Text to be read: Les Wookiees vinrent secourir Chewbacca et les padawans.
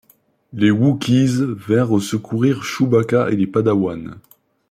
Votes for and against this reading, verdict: 2, 0, accepted